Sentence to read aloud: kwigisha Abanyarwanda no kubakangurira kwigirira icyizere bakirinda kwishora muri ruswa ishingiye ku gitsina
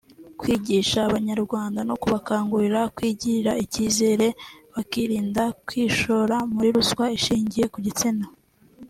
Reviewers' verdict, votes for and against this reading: accepted, 3, 0